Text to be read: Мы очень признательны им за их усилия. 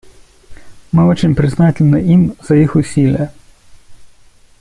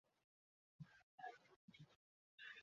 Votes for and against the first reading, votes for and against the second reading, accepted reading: 2, 0, 0, 2, first